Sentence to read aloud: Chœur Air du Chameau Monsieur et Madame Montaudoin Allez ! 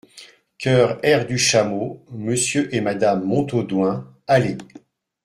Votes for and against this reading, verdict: 2, 0, accepted